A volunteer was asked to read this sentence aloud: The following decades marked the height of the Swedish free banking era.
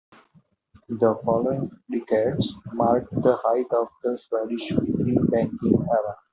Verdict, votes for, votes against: rejected, 1, 2